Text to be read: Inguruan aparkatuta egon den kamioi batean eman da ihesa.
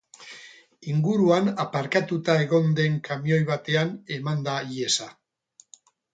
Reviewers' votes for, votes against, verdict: 2, 0, accepted